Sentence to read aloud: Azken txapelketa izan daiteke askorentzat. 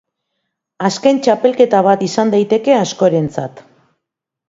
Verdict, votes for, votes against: rejected, 1, 2